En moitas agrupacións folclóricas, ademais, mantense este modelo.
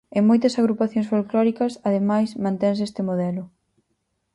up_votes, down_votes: 4, 0